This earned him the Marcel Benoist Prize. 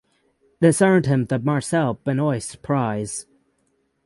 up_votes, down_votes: 6, 0